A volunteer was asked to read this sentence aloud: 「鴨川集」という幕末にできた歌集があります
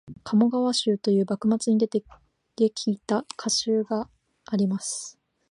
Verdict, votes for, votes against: accepted, 13, 7